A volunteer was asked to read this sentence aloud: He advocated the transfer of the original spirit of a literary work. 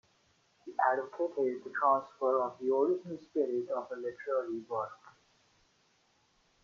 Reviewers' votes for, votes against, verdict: 0, 2, rejected